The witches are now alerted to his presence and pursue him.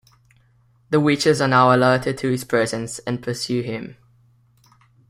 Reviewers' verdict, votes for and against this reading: accepted, 2, 0